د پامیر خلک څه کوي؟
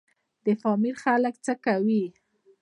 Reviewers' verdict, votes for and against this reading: rejected, 0, 2